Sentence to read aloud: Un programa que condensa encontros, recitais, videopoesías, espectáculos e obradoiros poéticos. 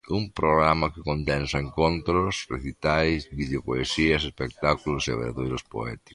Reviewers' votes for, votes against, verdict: 2, 0, accepted